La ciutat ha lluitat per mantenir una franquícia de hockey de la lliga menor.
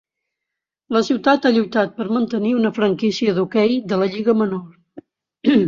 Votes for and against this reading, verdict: 2, 0, accepted